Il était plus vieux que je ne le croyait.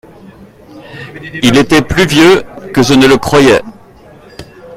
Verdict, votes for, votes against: rejected, 1, 2